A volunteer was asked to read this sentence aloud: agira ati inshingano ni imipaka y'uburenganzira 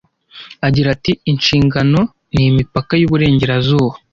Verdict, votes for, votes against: rejected, 1, 2